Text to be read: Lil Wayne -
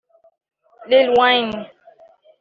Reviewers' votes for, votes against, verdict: 0, 3, rejected